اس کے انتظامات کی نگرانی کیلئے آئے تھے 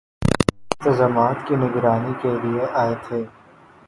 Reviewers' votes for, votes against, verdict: 1, 6, rejected